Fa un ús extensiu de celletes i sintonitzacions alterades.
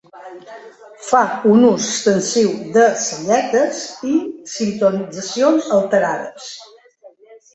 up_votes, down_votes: 0, 2